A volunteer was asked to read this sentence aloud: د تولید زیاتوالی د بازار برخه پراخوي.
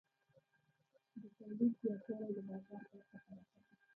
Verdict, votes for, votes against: rejected, 0, 2